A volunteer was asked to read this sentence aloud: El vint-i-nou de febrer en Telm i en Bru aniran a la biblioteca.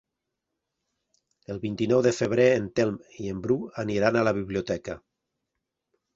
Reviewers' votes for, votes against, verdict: 3, 0, accepted